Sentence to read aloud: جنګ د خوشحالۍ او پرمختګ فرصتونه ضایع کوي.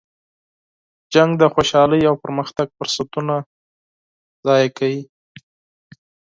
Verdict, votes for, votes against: accepted, 8, 0